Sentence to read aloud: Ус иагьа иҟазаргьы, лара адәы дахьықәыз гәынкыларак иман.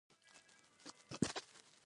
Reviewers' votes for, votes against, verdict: 0, 2, rejected